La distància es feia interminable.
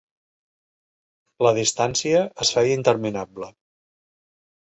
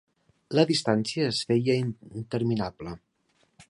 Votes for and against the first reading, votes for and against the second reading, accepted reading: 3, 0, 1, 2, first